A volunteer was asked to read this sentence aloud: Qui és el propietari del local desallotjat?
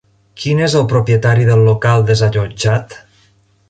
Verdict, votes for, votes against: rejected, 1, 2